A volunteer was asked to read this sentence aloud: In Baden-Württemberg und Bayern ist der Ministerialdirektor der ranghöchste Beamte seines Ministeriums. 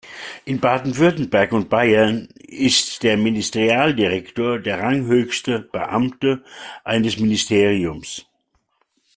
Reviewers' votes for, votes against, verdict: 1, 2, rejected